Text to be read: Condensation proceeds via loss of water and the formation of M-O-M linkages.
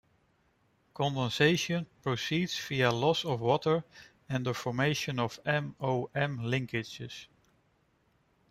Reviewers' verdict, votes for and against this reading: rejected, 1, 2